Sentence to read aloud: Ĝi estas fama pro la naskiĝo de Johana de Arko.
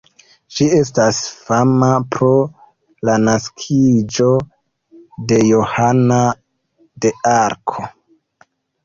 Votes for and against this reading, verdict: 0, 3, rejected